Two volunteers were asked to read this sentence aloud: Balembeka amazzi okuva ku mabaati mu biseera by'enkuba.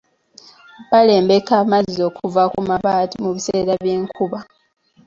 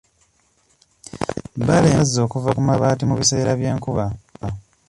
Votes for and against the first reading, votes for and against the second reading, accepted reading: 2, 1, 1, 2, first